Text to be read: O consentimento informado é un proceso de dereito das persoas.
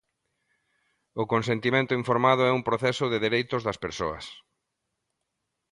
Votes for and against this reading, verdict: 1, 2, rejected